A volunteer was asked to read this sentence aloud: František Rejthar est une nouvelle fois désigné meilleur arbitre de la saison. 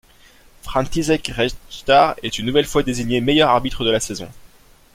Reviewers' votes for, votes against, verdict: 2, 0, accepted